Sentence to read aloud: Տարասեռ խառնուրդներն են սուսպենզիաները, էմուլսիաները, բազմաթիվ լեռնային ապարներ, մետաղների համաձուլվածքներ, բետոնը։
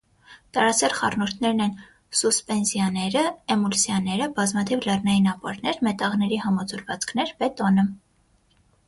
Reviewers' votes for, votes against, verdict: 9, 0, accepted